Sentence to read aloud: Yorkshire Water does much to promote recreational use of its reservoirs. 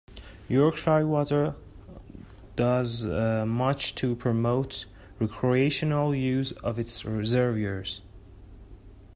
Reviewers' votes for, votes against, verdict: 1, 2, rejected